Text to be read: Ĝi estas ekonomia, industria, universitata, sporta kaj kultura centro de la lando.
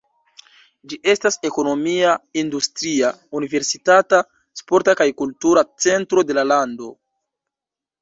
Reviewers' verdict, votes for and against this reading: rejected, 1, 2